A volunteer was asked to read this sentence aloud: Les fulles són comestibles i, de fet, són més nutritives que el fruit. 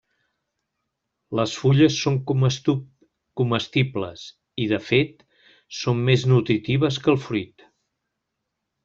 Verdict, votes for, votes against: rejected, 0, 2